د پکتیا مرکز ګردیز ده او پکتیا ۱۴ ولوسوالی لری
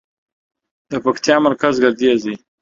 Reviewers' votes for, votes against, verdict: 0, 2, rejected